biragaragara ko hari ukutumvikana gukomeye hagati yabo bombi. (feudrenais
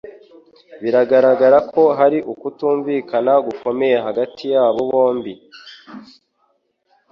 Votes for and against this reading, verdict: 1, 2, rejected